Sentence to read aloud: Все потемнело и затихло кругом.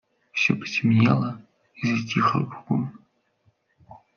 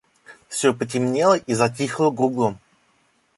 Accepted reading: second